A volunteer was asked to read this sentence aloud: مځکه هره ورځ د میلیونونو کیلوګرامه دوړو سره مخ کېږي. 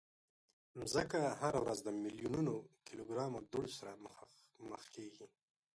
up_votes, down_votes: 1, 2